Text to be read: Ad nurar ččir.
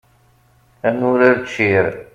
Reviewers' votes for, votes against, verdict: 2, 0, accepted